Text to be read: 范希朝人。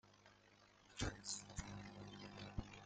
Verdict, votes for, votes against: rejected, 0, 2